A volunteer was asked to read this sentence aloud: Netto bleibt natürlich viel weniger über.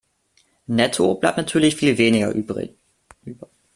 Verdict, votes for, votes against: rejected, 0, 2